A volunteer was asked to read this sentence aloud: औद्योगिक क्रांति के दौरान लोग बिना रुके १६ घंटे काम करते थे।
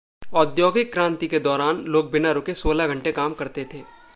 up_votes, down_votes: 0, 2